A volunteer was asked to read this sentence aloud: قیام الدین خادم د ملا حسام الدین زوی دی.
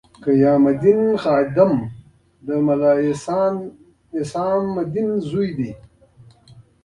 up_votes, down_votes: 2, 0